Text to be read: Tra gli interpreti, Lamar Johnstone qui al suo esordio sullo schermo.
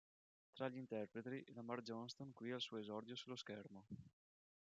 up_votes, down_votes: 1, 3